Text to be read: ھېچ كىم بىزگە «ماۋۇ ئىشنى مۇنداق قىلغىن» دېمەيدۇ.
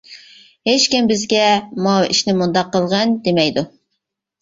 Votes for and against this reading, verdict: 2, 0, accepted